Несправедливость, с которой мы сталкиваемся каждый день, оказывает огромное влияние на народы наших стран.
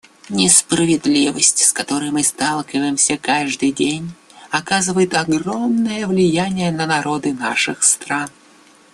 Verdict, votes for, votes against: accepted, 2, 0